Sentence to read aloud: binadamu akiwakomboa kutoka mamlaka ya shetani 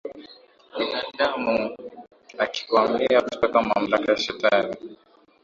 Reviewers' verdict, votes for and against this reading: rejected, 0, 2